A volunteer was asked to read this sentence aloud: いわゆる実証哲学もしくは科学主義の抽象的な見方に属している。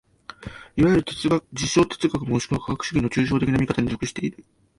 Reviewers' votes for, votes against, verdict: 0, 2, rejected